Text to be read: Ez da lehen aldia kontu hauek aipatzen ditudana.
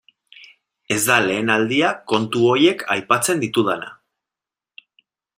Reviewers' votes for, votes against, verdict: 0, 2, rejected